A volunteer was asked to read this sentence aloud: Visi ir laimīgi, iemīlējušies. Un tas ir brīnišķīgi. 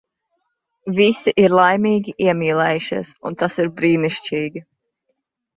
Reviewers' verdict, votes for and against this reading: accepted, 3, 0